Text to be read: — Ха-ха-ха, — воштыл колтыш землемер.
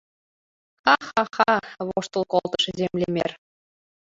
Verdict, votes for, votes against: rejected, 0, 2